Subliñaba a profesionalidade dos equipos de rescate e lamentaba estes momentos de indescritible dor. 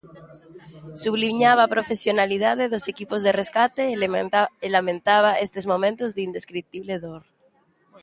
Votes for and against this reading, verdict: 0, 2, rejected